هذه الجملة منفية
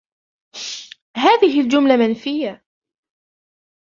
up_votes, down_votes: 0, 2